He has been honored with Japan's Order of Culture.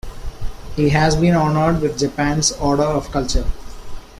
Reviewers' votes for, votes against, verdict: 2, 0, accepted